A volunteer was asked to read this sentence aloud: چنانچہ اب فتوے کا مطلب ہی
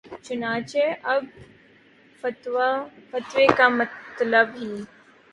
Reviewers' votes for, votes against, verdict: 2, 1, accepted